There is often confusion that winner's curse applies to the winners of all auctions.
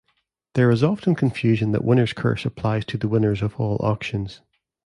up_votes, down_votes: 2, 0